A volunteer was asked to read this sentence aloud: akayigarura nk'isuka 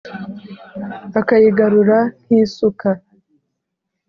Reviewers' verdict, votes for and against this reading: accepted, 4, 0